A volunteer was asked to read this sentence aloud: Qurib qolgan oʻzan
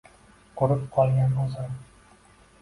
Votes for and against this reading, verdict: 2, 0, accepted